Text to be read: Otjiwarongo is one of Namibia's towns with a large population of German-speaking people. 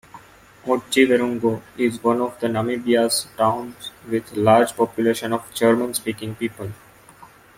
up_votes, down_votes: 1, 2